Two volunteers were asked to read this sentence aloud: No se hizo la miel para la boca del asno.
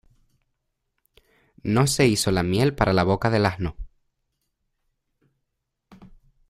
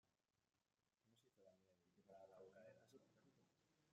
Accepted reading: first